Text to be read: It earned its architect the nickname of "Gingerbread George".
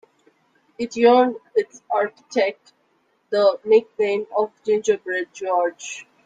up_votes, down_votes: 0, 2